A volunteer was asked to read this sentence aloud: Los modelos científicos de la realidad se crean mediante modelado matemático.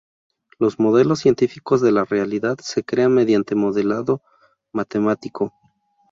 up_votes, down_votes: 2, 0